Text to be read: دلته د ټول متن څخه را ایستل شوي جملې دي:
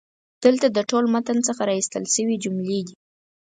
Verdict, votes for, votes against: accepted, 4, 0